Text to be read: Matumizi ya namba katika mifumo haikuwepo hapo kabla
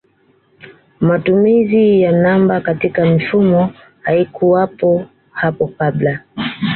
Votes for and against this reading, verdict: 2, 0, accepted